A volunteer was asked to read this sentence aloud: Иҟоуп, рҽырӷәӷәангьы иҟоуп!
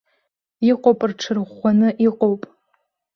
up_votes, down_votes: 1, 2